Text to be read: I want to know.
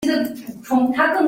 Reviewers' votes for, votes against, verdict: 0, 2, rejected